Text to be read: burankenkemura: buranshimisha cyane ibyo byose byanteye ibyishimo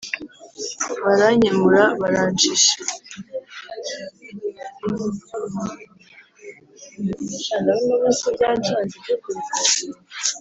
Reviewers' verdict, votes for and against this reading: rejected, 1, 2